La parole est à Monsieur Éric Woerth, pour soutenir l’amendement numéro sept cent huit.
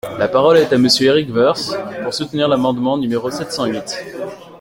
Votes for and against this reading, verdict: 2, 1, accepted